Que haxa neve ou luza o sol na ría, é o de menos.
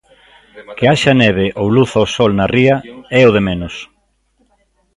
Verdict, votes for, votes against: rejected, 0, 2